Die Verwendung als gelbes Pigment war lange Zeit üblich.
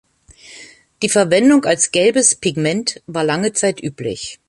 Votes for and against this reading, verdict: 2, 0, accepted